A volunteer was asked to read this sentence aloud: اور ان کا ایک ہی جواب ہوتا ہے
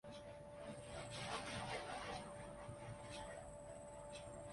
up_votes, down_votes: 0, 2